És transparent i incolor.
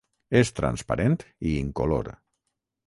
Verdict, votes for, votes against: accepted, 6, 0